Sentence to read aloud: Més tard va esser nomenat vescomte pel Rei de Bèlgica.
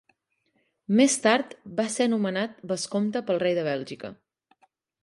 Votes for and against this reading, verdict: 1, 2, rejected